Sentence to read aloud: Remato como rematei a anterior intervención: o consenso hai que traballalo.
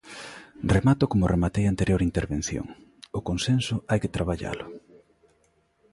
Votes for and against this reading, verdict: 2, 0, accepted